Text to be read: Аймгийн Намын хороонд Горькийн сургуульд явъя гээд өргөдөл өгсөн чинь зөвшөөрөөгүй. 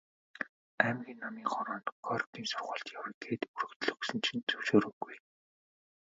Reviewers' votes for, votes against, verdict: 2, 3, rejected